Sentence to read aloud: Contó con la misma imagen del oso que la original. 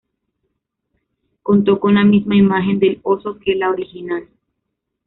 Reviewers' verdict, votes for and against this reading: accepted, 2, 0